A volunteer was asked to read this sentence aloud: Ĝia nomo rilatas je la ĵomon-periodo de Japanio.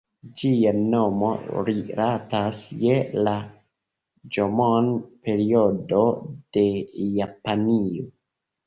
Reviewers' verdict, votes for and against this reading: rejected, 0, 3